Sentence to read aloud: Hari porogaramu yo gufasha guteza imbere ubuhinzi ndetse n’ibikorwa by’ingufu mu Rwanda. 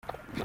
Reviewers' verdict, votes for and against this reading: rejected, 0, 2